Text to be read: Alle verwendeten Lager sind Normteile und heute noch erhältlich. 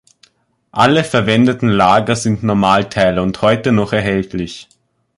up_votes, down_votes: 0, 2